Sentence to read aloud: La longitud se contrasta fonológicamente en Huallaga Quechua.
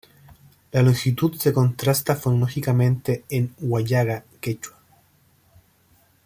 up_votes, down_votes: 1, 2